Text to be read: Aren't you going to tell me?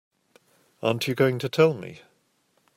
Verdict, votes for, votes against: accepted, 2, 0